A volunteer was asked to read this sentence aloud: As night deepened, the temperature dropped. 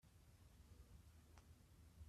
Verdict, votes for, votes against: rejected, 0, 2